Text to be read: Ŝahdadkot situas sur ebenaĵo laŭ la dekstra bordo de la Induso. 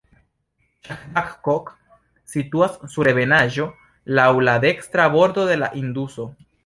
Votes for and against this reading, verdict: 0, 2, rejected